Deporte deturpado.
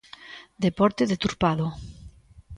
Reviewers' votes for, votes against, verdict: 2, 0, accepted